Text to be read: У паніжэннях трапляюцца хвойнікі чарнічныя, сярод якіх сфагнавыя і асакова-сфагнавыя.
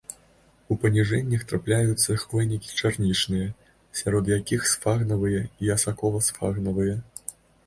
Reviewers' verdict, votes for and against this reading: accepted, 2, 0